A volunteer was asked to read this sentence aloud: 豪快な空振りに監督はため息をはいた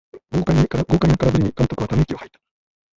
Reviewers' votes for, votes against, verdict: 0, 2, rejected